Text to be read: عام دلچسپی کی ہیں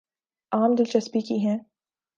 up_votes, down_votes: 4, 0